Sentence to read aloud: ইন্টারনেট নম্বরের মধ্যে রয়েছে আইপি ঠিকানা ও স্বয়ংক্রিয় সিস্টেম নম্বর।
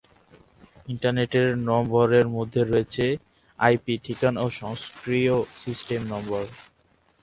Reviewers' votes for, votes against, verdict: 0, 2, rejected